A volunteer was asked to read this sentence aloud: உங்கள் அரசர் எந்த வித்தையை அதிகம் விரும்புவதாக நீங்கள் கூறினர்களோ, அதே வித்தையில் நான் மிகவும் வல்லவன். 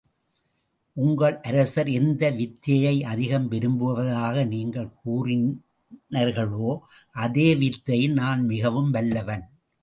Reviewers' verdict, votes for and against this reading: accepted, 2, 0